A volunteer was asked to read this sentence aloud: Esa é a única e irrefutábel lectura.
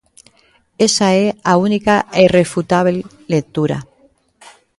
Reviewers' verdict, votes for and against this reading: accepted, 2, 0